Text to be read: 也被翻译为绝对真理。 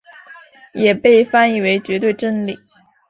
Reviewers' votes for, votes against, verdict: 2, 0, accepted